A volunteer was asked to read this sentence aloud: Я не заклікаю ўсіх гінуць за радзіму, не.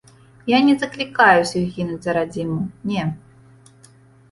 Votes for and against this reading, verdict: 2, 0, accepted